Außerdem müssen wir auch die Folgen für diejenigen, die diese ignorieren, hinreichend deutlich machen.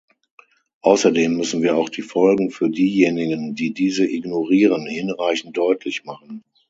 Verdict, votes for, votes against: accepted, 6, 0